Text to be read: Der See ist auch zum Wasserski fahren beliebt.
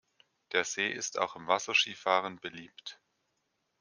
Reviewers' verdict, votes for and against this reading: rejected, 0, 2